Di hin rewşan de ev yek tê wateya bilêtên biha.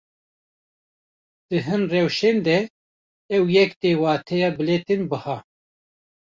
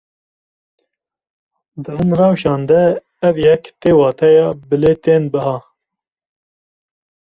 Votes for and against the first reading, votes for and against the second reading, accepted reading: 0, 2, 2, 0, second